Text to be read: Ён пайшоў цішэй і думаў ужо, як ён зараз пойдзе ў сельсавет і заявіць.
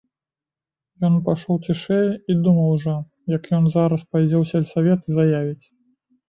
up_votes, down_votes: 1, 2